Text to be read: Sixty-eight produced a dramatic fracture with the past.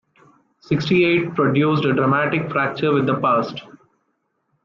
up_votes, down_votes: 2, 0